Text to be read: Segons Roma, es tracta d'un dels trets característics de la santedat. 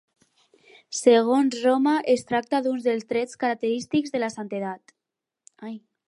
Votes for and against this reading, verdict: 4, 0, accepted